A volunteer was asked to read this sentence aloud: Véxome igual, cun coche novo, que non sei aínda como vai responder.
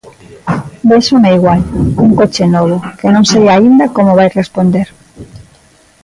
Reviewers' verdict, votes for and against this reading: accepted, 2, 0